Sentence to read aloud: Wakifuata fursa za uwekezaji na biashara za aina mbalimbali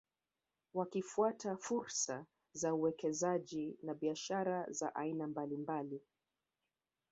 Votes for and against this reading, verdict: 2, 0, accepted